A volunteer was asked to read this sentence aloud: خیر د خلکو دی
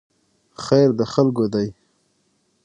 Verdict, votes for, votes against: rejected, 3, 6